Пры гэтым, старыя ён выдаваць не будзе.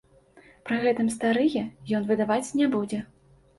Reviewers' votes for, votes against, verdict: 2, 0, accepted